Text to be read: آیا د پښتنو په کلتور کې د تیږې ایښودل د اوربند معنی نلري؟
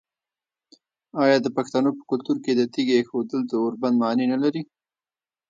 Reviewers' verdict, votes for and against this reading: rejected, 1, 2